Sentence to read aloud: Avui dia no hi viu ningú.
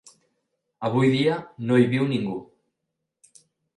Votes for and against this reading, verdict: 3, 0, accepted